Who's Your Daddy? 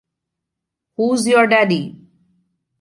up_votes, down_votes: 2, 0